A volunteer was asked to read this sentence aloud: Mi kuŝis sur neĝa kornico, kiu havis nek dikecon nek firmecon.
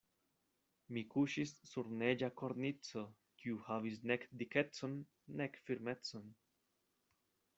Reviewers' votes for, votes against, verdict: 2, 0, accepted